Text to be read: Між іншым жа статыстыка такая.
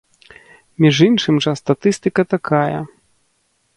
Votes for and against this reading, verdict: 2, 0, accepted